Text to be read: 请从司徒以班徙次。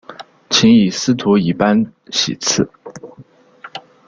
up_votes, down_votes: 0, 2